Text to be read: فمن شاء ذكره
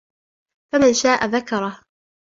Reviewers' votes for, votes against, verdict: 2, 0, accepted